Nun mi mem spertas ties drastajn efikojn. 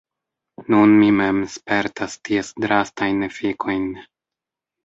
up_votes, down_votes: 0, 2